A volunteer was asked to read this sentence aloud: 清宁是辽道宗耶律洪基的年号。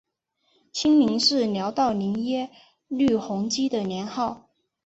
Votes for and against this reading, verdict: 5, 2, accepted